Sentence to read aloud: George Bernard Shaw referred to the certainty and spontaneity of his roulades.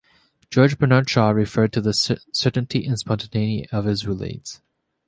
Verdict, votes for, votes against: rejected, 1, 2